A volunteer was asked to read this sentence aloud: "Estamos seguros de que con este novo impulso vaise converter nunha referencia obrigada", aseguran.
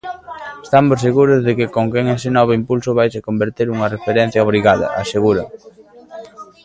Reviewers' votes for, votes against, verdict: 0, 3, rejected